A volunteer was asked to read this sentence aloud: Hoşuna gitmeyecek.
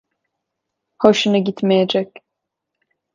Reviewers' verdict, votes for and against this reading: accepted, 2, 0